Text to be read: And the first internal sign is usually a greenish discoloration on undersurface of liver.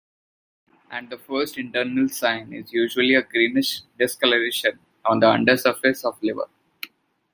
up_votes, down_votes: 2, 1